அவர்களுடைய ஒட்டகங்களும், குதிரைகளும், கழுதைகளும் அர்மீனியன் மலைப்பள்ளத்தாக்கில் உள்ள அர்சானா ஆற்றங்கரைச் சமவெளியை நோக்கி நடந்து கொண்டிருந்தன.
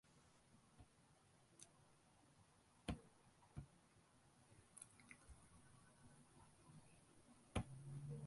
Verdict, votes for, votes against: rejected, 0, 2